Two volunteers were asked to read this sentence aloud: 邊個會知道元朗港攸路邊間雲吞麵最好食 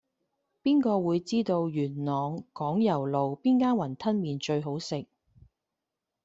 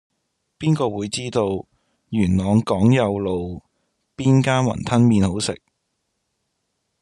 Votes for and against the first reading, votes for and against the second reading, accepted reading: 2, 0, 0, 2, first